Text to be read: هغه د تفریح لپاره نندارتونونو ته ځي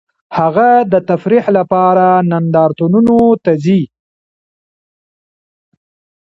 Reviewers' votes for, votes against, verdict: 2, 1, accepted